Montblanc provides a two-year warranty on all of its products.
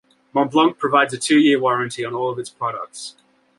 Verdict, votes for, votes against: accepted, 2, 0